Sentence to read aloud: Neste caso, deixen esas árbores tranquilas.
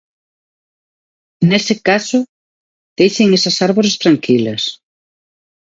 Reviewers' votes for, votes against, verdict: 0, 2, rejected